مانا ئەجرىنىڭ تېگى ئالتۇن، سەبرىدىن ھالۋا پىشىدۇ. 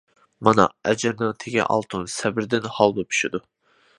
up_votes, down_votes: 2, 0